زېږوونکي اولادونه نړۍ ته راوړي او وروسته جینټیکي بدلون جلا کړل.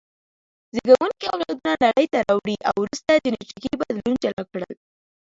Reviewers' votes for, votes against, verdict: 2, 0, accepted